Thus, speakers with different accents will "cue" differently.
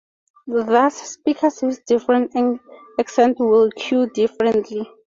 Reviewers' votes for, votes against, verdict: 0, 4, rejected